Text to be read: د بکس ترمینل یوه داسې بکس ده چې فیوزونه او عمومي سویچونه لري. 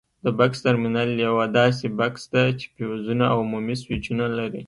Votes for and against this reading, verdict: 2, 0, accepted